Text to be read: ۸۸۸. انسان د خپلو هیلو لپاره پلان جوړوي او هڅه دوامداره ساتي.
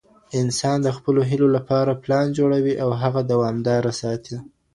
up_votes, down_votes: 0, 2